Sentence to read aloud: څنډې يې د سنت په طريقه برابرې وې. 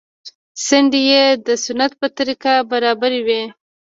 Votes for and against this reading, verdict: 2, 0, accepted